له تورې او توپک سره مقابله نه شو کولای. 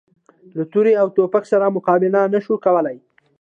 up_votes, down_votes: 2, 1